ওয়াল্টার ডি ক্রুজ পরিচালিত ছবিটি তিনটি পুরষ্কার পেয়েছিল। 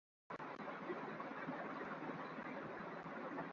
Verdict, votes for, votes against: rejected, 0, 6